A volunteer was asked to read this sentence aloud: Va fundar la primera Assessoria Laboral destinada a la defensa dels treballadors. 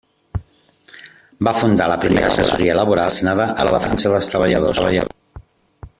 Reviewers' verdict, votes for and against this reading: rejected, 0, 2